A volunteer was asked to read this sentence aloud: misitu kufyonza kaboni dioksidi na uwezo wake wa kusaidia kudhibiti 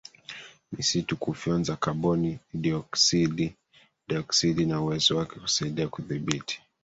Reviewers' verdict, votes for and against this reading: rejected, 1, 2